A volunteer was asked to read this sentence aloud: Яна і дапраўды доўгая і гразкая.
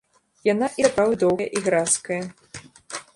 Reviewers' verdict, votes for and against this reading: rejected, 0, 2